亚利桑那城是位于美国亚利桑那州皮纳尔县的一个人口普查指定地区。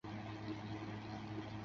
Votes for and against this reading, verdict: 1, 3, rejected